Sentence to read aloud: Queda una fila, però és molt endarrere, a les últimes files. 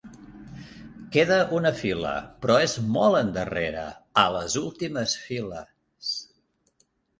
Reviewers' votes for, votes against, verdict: 3, 1, accepted